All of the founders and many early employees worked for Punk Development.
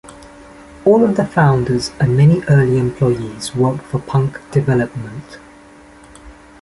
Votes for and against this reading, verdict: 2, 0, accepted